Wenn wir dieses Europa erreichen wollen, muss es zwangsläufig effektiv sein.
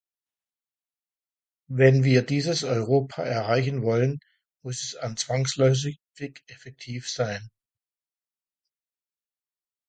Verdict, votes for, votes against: rejected, 0, 2